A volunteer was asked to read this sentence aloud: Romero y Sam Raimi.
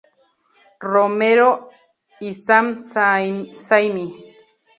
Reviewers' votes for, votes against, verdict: 0, 2, rejected